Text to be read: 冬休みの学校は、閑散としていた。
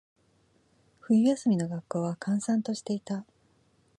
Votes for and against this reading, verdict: 2, 0, accepted